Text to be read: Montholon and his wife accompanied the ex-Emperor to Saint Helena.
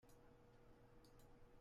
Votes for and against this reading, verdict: 0, 2, rejected